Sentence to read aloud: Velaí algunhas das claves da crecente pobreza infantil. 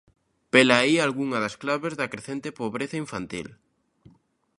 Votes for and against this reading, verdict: 0, 2, rejected